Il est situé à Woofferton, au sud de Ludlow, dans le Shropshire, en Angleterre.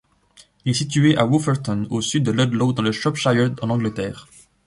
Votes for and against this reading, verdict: 1, 2, rejected